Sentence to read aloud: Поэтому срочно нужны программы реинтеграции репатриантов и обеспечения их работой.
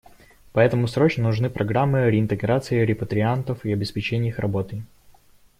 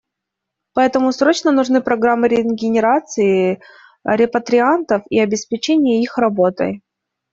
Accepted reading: first